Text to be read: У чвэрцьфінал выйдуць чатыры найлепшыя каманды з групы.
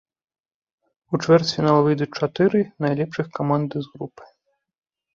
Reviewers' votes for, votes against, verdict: 0, 2, rejected